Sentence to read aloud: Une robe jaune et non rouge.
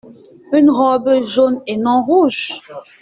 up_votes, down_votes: 2, 0